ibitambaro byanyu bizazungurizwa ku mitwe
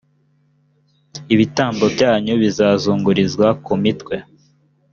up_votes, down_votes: 0, 2